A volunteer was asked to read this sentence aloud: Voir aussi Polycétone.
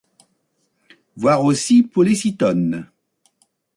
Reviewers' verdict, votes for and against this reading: rejected, 1, 2